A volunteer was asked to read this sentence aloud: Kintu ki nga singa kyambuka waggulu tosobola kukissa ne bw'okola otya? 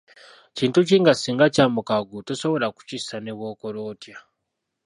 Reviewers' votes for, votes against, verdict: 1, 2, rejected